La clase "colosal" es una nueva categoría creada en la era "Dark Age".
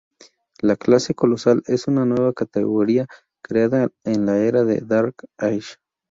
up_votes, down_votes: 0, 2